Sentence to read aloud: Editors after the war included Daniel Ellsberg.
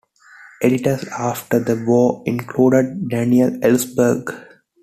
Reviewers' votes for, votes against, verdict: 2, 0, accepted